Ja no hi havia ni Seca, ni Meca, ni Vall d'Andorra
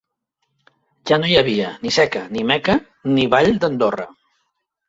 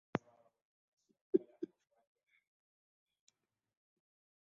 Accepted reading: first